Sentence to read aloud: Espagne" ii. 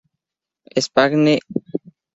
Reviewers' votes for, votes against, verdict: 2, 6, rejected